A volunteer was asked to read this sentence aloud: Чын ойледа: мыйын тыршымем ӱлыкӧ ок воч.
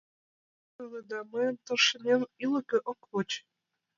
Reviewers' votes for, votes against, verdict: 1, 2, rejected